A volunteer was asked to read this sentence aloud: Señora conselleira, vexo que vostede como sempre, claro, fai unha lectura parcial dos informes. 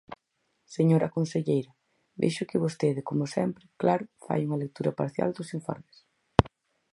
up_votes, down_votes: 4, 0